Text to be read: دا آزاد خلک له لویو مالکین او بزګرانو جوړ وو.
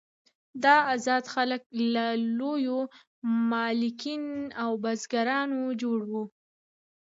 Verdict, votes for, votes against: rejected, 1, 2